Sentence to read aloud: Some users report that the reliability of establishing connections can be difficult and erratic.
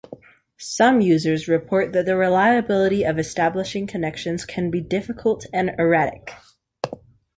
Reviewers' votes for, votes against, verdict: 2, 0, accepted